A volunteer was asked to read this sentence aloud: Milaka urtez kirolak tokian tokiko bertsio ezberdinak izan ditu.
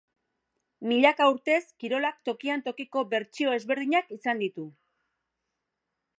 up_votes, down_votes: 3, 0